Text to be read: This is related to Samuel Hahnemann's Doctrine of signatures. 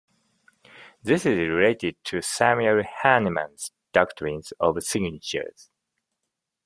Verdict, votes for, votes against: rejected, 1, 2